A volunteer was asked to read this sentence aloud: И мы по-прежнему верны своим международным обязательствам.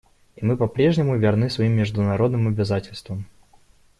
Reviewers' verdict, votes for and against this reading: rejected, 0, 2